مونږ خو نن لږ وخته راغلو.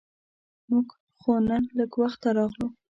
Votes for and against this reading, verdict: 2, 0, accepted